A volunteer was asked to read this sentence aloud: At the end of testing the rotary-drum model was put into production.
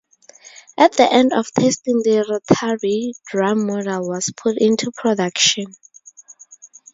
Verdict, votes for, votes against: rejected, 2, 2